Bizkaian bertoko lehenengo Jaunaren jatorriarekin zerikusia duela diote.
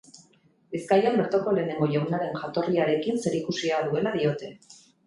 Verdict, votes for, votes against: rejected, 0, 2